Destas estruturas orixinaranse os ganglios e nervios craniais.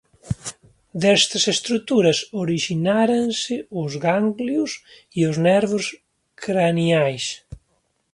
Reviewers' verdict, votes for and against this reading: rejected, 1, 2